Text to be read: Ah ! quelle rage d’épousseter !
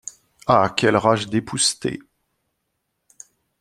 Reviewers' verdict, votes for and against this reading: accepted, 2, 0